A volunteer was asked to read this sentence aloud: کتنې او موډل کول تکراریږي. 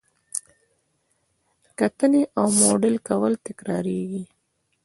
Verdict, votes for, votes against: accepted, 2, 0